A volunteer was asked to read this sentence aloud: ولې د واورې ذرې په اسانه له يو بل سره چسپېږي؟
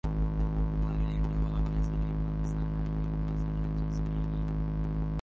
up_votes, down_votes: 0, 2